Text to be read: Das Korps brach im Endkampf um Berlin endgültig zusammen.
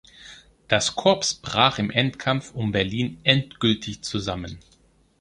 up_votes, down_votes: 0, 2